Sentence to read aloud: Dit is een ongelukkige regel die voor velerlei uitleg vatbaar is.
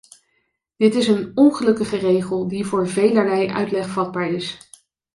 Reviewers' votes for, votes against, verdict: 2, 0, accepted